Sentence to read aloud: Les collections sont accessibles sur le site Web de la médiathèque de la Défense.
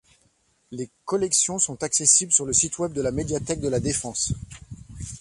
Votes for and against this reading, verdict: 2, 0, accepted